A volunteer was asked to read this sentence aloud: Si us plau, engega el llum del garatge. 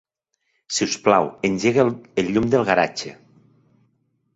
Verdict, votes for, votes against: rejected, 0, 2